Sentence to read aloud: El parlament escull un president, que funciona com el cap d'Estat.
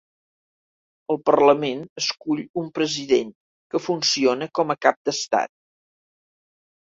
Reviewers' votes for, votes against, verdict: 1, 2, rejected